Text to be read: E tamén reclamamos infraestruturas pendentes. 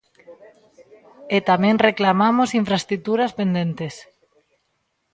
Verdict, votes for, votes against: rejected, 1, 2